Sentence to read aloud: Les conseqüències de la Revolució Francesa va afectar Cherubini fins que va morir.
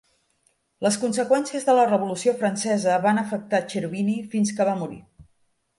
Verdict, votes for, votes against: rejected, 1, 3